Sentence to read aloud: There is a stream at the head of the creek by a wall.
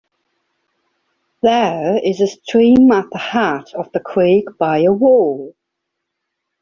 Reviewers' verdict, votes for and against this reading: accepted, 2, 0